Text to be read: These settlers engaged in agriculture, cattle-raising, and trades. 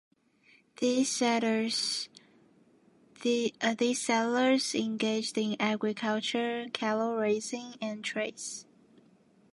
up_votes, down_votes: 0, 2